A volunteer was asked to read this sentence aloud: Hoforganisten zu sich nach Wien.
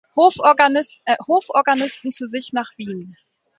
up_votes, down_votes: 1, 2